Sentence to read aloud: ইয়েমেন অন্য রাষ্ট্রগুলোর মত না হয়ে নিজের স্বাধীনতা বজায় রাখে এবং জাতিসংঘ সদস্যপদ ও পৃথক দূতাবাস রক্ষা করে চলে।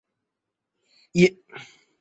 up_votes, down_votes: 0, 6